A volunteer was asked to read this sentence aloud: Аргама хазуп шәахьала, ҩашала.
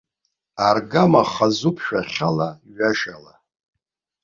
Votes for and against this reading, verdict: 2, 0, accepted